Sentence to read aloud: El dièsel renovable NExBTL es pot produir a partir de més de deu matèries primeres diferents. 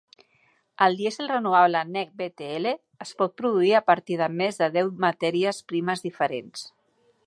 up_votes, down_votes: 0, 3